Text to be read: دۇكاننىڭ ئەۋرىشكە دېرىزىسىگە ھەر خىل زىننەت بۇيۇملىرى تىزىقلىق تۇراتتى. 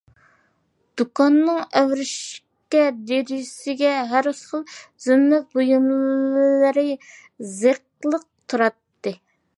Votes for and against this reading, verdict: 0, 2, rejected